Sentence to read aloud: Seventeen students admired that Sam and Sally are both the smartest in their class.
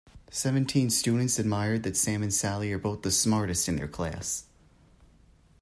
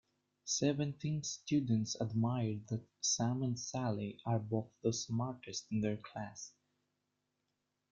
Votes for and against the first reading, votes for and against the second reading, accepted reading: 2, 0, 1, 2, first